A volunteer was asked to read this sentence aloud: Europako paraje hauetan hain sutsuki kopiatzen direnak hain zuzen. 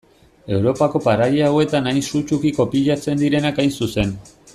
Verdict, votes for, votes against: accepted, 2, 0